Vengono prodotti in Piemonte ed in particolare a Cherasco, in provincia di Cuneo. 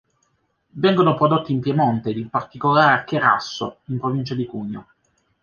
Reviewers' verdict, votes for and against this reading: rejected, 0, 2